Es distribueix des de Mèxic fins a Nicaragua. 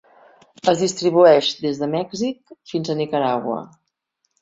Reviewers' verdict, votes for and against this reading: accepted, 2, 0